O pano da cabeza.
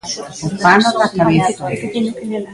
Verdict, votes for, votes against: rejected, 0, 2